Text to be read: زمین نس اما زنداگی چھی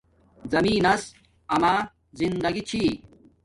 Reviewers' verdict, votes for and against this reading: accepted, 2, 0